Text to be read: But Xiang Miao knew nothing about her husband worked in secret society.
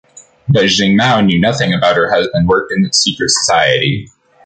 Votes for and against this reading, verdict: 1, 2, rejected